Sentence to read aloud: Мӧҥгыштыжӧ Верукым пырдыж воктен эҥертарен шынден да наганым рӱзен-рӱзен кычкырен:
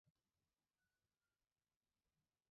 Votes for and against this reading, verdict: 0, 2, rejected